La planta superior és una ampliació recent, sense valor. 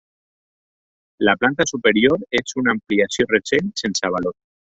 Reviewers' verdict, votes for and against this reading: accepted, 2, 0